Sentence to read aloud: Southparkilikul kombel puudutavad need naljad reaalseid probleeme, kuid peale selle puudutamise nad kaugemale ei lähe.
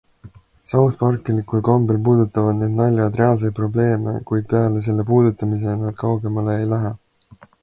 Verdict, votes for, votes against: accepted, 2, 0